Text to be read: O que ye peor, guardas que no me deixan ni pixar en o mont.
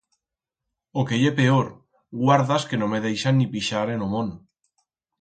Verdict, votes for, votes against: accepted, 4, 0